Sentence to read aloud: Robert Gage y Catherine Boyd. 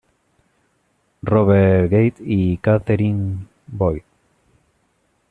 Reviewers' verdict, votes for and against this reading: accepted, 2, 0